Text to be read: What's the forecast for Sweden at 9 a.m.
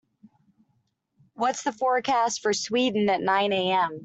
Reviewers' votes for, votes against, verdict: 0, 2, rejected